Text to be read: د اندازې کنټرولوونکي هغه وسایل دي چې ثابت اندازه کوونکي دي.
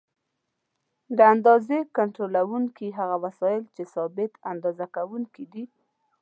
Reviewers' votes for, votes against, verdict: 2, 1, accepted